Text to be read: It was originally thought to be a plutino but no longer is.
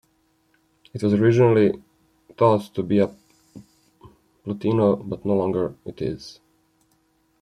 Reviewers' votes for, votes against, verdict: 1, 2, rejected